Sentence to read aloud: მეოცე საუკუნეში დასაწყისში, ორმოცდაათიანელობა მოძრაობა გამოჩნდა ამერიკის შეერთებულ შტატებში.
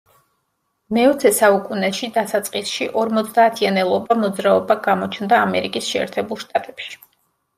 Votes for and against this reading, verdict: 2, 0, accepted